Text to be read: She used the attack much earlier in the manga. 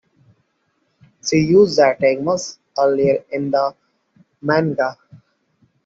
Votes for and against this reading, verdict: 0, 2, rejected